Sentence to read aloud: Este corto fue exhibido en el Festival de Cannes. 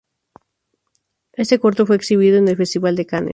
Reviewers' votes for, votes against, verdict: 0, 2, rejected